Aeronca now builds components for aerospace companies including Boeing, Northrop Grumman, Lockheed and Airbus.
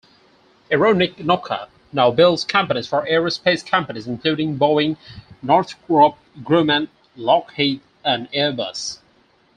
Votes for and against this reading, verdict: 0, 2, rejected